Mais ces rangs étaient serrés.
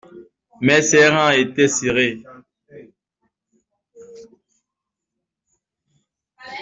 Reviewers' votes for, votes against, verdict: 2, 0, accepted